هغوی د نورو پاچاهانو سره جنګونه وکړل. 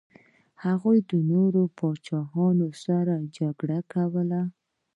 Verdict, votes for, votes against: rejected, 0, 2